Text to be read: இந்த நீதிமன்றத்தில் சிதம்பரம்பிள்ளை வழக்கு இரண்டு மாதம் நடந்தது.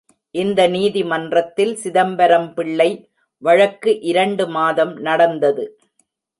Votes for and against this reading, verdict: 2, 0, accepted